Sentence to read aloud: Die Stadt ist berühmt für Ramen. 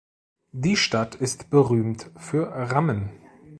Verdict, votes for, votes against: accepted, 2, 0